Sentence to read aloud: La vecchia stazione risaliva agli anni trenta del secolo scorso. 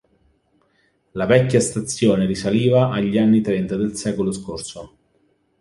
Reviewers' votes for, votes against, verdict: 2, 0, accepted